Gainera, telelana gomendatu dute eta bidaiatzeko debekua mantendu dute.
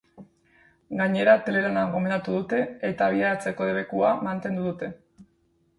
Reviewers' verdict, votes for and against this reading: rejected, 0, 2